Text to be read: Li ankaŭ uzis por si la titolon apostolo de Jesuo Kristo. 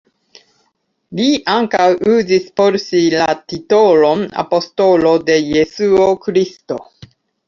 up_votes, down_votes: 2, 0